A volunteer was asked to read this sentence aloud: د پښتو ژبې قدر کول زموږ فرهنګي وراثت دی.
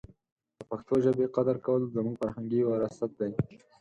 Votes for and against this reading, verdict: 4, 0, accepted